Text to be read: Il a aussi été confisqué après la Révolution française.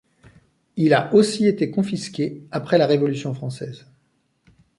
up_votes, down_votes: 2, 0